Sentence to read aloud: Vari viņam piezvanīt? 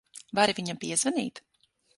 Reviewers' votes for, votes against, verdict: 6, 0, accepted